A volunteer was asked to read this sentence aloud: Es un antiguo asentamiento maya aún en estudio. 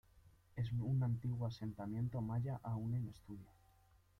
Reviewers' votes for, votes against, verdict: 0, 2, rejected